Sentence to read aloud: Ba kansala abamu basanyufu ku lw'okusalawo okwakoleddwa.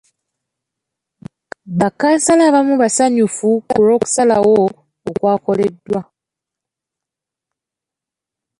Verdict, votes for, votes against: accepted, 2, 0